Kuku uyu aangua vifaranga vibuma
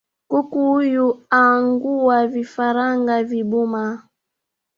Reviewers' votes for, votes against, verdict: 3, 0, accepted